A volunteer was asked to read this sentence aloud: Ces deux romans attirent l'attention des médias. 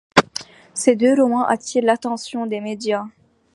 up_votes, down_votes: 2, 0